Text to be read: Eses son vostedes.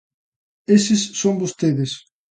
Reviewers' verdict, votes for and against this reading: accepted, 2, 0